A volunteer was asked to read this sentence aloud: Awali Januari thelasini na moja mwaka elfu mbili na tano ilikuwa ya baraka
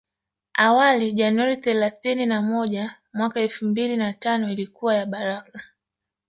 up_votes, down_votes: 2, 1